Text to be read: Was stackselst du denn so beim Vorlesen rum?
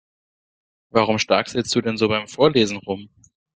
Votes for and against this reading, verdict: 1, 2, rejected